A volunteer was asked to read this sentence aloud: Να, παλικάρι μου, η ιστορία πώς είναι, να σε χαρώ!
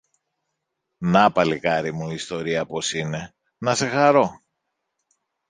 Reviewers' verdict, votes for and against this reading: rejected, 1, 2